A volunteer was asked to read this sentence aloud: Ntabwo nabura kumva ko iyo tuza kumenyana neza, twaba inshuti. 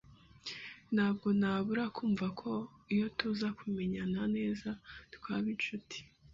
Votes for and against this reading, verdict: 2, 0, accepted